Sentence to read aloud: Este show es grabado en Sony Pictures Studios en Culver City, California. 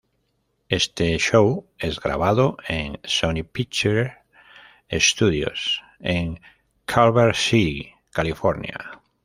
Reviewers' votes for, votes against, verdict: 1, 2, rejected